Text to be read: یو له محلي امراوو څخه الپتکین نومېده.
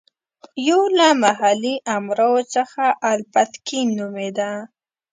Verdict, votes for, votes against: rejected, 0, 2